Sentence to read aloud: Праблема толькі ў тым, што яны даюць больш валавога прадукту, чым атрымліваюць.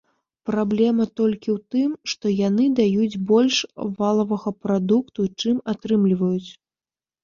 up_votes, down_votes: 0, 2